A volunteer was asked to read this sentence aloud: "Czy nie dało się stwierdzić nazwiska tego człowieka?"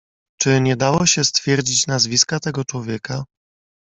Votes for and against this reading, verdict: 2, 0, accepted